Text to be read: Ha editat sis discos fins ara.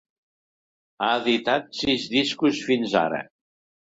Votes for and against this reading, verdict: 2, 0, accepted